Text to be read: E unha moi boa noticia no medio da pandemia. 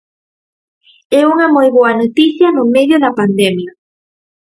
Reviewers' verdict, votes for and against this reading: accepted, 4, 0